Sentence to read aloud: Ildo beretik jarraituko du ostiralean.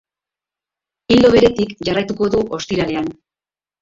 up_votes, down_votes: 2, 0